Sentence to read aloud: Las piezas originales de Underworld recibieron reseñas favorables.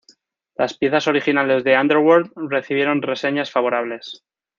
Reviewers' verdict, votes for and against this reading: accepted, 2, 0